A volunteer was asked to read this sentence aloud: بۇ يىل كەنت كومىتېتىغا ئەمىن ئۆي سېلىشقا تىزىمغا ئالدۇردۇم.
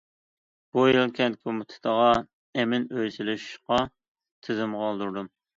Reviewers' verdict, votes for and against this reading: accepted, 2, 0